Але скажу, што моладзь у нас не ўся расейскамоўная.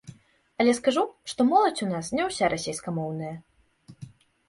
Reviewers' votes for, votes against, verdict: 3, 0, accepted